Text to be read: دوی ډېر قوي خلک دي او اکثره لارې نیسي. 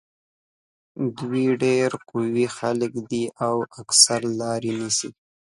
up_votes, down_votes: 1, 2